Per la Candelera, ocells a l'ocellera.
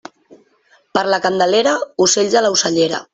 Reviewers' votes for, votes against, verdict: 1, 2, rejected